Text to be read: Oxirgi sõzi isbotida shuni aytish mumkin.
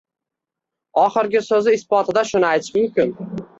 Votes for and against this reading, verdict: 0, 2, rejected